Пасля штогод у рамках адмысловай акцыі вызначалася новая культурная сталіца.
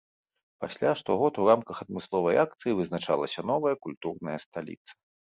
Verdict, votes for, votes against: accepted, 2, 0